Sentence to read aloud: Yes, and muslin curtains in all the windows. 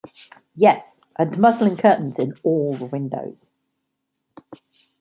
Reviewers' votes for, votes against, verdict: 2, 1, accepted